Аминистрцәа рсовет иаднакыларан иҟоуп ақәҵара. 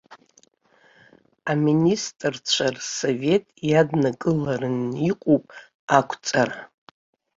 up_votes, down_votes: 1, 2